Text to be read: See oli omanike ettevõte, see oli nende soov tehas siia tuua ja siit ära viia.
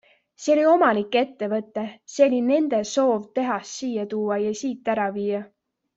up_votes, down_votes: 2, 0